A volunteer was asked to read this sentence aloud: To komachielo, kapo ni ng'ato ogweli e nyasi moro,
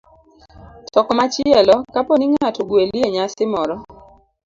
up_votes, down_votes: 2, 0